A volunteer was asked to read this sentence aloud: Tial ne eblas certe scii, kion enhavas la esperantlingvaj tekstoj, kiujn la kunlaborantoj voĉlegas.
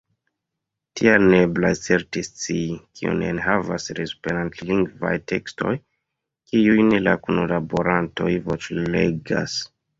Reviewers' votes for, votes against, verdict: 0, 2, rejected